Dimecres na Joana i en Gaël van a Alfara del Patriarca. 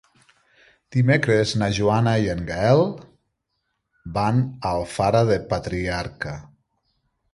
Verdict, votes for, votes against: accepted, 2, 0